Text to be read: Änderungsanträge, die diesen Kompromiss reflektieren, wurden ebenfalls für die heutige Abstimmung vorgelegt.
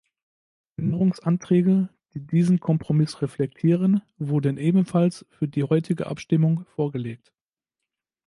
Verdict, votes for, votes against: rejected, 0, 2